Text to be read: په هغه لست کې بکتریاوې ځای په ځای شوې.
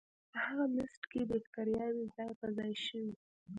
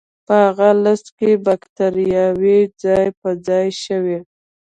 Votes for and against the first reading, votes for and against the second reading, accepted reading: 1, 2, 2, 0, second